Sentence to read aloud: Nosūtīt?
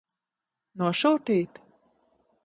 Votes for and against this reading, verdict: 2, 0, accepted